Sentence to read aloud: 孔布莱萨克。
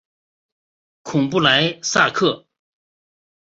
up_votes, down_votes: 4, 0